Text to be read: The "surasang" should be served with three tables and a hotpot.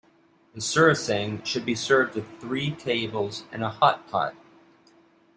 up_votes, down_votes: 2, 0